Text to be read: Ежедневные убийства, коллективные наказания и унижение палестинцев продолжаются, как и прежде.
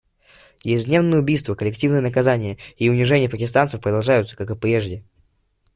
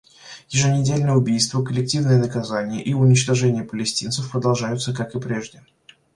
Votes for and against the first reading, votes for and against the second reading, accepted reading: 1, 2, 2, 1, second